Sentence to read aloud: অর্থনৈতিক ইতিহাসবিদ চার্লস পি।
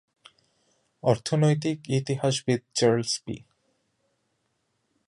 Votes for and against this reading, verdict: 2, 0, accepted